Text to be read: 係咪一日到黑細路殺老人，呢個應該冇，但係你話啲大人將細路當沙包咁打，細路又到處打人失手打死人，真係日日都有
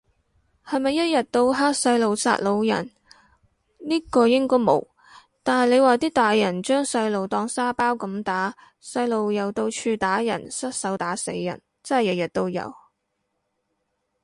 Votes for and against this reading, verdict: 2, 2, rejected